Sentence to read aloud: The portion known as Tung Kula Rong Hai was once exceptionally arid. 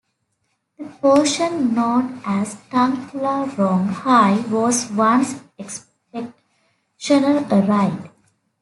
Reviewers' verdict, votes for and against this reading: rejected, 1, 3